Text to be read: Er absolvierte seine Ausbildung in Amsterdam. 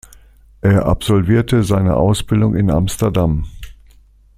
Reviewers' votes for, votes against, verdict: 2, 0, accepted